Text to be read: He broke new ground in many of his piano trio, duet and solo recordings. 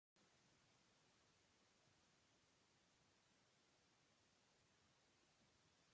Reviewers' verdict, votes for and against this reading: rejected, 0, 2